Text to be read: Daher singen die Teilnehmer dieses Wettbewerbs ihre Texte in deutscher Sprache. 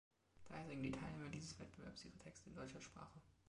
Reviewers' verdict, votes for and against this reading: rejected, 2, 3